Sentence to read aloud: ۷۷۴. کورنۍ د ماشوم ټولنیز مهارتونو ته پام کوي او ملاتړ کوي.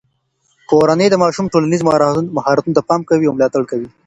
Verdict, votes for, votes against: rejected, 0, 2